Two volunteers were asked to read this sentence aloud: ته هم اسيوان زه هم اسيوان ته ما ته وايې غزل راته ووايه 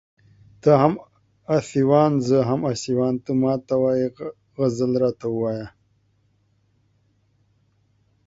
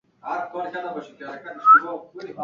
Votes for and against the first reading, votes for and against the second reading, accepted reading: 2, 0, 0, 2, first